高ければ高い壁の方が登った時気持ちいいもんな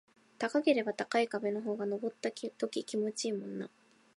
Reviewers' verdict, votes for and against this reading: rejected, 1, 2